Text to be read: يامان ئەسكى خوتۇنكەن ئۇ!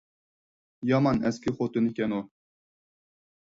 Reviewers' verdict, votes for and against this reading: accepted, 4, 0